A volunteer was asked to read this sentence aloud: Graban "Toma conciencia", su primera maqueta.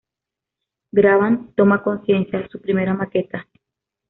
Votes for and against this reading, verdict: 2, 0, accepted